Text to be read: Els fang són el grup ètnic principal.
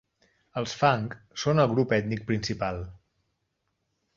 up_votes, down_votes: 4, 0